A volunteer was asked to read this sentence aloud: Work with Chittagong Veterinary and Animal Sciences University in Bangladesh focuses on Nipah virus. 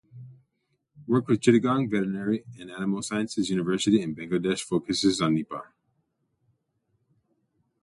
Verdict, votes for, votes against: rejected, 0, 2